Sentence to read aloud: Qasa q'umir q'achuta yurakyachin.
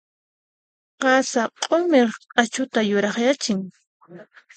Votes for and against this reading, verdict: 2, 0, accepted